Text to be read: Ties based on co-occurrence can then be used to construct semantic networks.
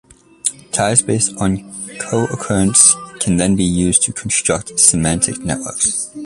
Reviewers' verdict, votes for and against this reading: accepted, 2, 0